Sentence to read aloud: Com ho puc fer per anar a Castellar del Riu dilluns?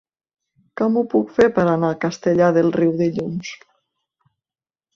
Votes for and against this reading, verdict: 2, 1, accepted